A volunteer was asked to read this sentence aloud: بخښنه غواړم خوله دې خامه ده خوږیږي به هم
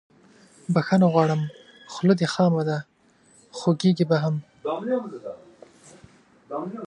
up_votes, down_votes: 0, 2